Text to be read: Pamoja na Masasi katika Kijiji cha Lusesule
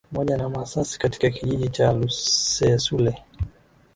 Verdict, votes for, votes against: rejected, 1, 2